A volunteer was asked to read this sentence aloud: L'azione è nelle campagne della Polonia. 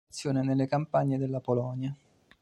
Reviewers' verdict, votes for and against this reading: rejected, 1, 2